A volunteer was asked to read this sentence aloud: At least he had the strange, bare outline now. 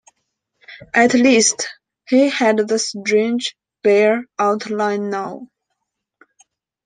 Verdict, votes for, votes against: accepted, 2, 0